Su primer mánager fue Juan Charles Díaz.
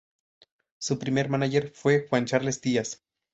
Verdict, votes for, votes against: accepted, 2, 0